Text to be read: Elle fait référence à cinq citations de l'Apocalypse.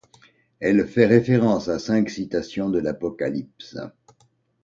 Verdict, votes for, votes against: accepted, 2, 0